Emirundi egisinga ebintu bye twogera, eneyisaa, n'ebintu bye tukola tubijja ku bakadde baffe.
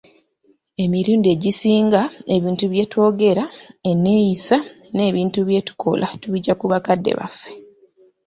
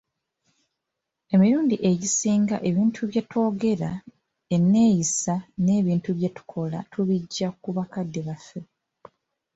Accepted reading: second